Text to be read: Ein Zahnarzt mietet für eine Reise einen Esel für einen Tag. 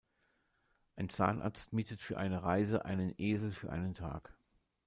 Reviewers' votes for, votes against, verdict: 2, 0, accepted